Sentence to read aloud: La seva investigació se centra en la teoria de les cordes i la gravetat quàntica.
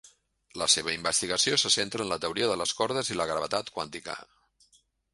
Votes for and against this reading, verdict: 3, 0, accepted